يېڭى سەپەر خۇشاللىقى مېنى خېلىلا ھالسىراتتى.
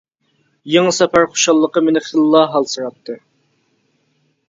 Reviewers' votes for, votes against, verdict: 2, 0, accepted